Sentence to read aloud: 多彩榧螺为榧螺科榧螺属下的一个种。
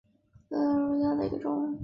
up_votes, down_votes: 0, 5